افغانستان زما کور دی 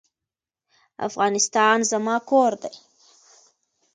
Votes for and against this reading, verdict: 2, 1, accepted